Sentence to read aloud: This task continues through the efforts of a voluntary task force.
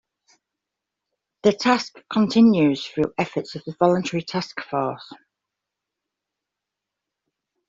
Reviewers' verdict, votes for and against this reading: rejected, 1, 2